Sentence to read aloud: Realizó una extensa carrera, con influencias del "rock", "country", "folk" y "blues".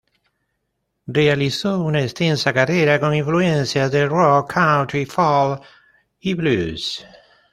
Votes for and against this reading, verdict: 1, 2, rejected